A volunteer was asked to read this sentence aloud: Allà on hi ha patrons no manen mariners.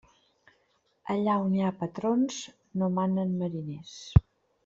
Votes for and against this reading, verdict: 3, 0, accepted